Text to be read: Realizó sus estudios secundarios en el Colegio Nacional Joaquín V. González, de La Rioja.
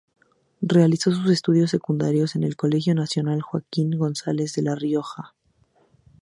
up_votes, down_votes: 0, 2